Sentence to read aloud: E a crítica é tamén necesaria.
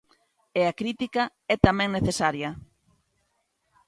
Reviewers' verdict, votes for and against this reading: accepted, 2, 0